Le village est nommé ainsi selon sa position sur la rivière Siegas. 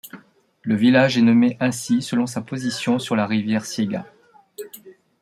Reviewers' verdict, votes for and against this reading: accepted, 2, 0